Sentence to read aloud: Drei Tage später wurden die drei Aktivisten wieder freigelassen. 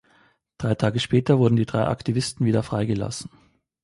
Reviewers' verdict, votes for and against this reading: accepted, 2, 0